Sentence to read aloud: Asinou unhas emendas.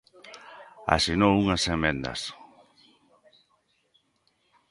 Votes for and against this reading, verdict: 2, 0, accepted